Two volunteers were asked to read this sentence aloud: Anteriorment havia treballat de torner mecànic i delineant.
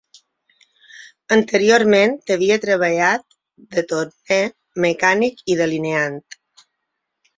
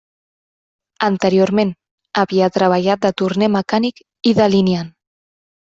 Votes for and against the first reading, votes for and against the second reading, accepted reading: 3, 6, 2, 0, second